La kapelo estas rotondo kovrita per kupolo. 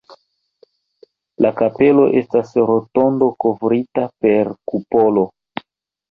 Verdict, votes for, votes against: rejected, 1, 2